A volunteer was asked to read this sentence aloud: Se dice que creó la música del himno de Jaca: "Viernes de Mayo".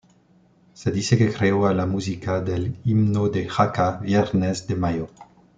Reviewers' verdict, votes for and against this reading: rejected, 1, 2